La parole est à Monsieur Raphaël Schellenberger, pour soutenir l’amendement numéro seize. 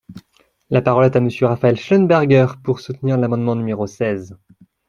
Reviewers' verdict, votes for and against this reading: rejected, 1, 2